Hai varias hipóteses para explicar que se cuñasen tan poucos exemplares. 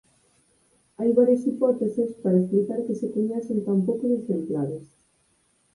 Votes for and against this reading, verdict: 2, 4, rejected